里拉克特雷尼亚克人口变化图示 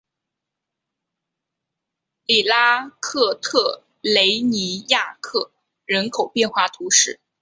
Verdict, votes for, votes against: accepted, 2, 0